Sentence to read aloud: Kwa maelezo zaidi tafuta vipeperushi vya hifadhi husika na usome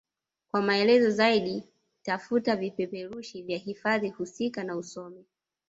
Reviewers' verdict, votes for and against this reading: accepted, 2, 0